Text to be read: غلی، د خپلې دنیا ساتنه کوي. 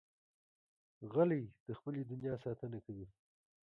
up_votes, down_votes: 1, 2